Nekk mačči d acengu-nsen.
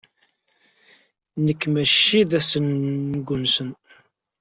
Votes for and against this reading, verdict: 0, 2, rejected